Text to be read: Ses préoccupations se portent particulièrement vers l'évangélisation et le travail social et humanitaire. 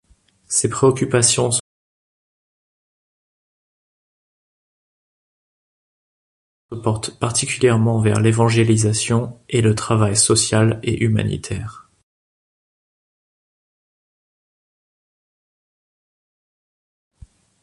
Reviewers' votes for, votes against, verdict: 0, 2, rejected